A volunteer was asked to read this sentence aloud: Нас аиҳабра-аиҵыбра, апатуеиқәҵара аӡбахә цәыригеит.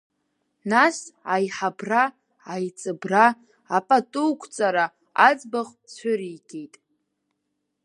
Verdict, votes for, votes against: rejected, 1, 3